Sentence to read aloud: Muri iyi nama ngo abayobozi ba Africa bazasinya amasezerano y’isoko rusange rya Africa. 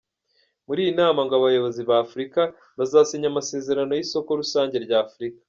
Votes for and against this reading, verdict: 2, 1, accepted